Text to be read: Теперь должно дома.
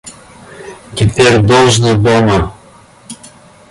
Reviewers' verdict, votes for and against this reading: rejected, 1, 2